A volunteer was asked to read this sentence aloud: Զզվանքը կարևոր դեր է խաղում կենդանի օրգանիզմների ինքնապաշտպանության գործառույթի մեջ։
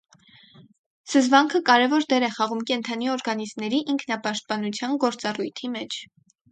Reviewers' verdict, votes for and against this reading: rejected, 2, 2